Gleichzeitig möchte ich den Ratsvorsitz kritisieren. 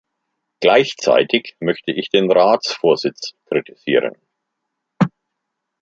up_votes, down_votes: 2, 1